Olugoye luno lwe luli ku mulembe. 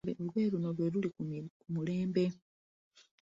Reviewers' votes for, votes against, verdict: 2, 1, accepted